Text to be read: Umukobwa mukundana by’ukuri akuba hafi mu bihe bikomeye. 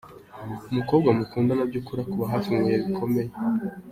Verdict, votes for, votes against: accepted, 2, 0